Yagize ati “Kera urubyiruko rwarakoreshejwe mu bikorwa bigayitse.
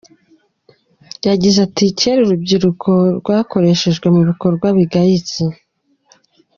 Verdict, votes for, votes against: rejected, 1, 2